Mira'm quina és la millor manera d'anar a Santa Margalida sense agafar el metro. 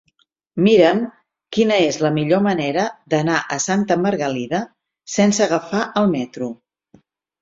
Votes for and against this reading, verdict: 6, 0, accepted